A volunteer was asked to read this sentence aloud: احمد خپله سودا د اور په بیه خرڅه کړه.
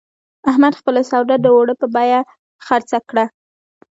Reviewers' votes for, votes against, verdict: 2, 0, accepted